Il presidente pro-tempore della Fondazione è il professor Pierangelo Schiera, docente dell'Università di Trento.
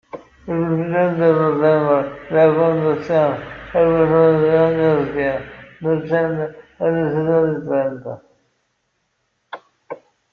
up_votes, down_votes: 0, 2